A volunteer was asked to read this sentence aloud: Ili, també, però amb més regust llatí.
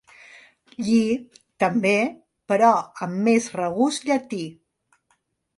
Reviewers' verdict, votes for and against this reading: accepted, 2, 1